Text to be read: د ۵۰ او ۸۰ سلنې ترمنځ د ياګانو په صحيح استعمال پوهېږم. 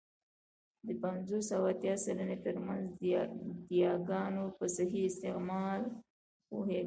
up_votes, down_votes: 0, 2